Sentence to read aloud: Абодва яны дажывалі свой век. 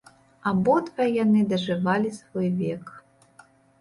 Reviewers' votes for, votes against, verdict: 2, 0, accepted